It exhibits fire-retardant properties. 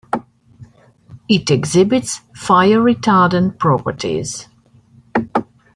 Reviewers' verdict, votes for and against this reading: accepted, 2, 0